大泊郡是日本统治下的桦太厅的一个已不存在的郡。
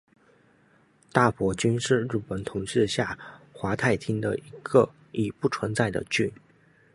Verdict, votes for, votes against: rejected, 1, 2